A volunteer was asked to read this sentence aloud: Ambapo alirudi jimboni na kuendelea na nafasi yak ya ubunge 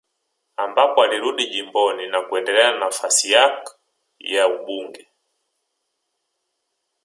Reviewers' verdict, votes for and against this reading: accepted, 4, 2